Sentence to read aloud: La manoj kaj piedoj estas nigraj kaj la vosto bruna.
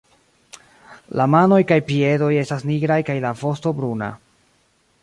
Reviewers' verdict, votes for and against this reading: accepted, 2, 0